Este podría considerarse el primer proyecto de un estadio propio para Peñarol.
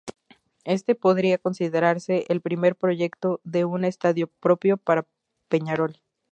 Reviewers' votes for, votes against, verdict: 2, 0, accepted